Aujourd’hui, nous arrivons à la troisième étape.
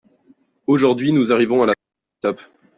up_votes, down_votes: 0, 2